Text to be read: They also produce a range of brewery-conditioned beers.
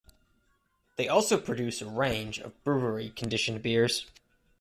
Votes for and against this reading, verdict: 2, 0, accepted